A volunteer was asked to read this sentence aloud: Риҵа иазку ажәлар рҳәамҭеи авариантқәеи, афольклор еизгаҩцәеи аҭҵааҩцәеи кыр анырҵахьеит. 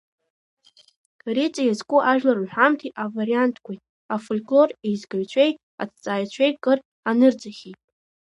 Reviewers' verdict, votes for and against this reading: rejected, 0, 2